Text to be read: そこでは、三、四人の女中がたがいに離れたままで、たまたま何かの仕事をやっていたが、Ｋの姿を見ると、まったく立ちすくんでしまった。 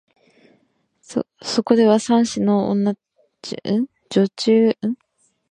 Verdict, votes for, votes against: rejected, 3, 4